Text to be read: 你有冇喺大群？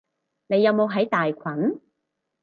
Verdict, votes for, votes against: accepted, 4, 0